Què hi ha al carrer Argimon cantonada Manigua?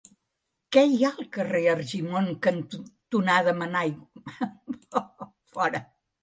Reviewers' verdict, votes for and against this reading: rejected, 0, 2